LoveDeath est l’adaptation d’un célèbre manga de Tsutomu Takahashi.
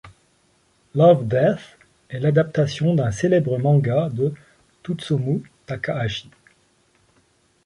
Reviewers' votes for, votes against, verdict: 1, 2, rejected